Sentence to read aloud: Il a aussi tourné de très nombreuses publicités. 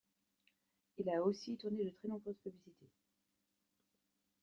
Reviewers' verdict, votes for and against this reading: rejected, 1, 2